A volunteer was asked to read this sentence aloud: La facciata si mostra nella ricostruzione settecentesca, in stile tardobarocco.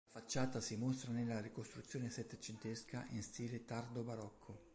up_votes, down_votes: 1, 3